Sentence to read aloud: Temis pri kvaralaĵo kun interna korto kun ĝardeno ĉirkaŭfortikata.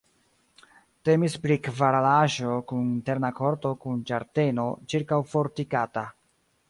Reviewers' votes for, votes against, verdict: 2, 1, accepted